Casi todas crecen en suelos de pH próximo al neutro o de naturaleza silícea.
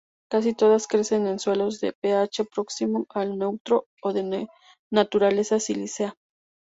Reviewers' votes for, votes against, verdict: 2, 2, rejected